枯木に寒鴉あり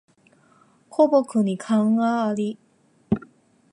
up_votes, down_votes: 2, 0